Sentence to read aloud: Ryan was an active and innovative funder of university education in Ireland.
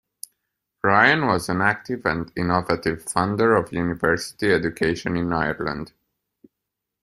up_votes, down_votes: 2, 0